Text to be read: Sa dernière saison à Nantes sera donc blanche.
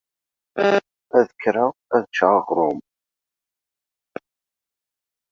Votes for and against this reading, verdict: 0, 2, rejected